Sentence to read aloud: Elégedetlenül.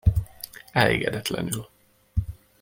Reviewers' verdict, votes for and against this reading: accepted, 2, 0